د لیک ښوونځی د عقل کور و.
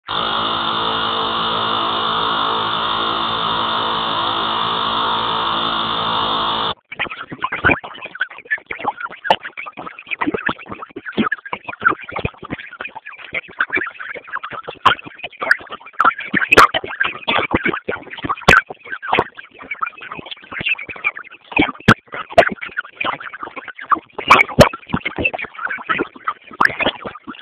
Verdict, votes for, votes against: rejected, 0, 3